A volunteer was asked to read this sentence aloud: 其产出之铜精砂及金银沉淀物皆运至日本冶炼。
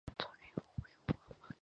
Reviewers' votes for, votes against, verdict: 0, 2, rejected